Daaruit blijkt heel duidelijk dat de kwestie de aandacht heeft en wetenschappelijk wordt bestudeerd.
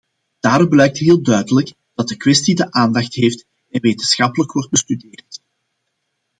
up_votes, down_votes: 2, 0